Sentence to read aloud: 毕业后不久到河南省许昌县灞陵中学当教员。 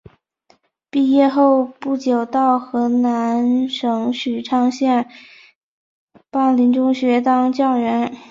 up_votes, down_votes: 3, 1